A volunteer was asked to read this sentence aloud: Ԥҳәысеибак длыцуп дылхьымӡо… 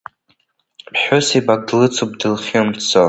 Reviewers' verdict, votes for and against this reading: rejected, 0, 2